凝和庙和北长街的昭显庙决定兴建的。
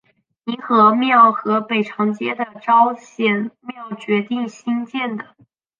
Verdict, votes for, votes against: accepted, 3, 0